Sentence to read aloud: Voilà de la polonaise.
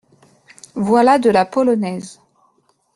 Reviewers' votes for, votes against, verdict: 2, 0, accepted